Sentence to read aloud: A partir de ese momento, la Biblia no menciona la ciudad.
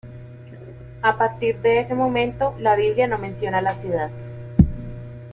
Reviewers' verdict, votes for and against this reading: accepted, 2, 0